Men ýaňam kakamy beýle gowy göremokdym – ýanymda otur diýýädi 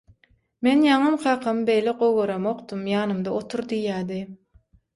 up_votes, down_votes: 6, 0